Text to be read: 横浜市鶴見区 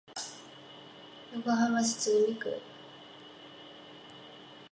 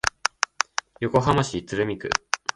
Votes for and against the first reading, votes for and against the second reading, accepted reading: 1, 2, 2, 0, second